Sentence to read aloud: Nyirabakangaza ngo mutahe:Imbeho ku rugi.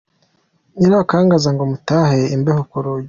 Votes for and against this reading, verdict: 1, 2, rejected